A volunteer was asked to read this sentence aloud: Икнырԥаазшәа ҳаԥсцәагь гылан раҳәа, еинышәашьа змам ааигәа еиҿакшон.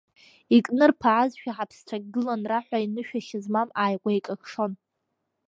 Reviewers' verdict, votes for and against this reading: rejected, 1, 2